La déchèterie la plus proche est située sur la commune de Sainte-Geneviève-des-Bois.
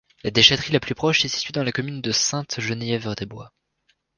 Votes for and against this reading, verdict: 2, 0, accepted